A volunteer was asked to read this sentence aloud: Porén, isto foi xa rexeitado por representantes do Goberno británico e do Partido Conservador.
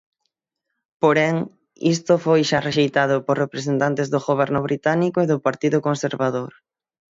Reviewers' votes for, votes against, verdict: 0, 6, rejected